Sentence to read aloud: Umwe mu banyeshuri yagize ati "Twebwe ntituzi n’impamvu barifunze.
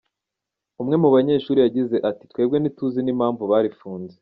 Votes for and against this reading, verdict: 2, 0, accepted